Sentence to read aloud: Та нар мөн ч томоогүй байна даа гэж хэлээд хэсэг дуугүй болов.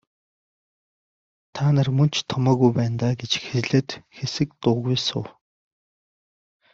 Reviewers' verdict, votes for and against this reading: rejected, 0, 2